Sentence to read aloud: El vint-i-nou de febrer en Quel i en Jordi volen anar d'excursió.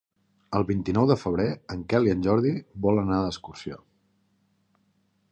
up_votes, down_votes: 5, 0